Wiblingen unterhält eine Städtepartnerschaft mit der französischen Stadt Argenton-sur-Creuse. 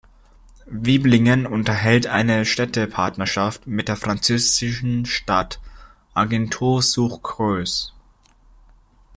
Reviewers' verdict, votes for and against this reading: rejected, 1, 2